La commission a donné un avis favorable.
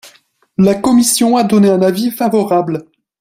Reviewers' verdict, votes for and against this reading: accepted, 4, 0